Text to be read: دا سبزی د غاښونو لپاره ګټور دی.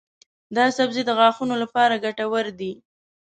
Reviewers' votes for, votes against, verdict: 2, 0, accepted